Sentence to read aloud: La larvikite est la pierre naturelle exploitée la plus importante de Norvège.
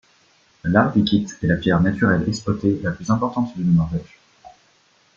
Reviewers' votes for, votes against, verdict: 2, 0, accepted